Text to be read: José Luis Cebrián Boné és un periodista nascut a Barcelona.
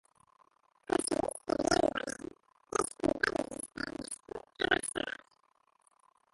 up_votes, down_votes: 0, 2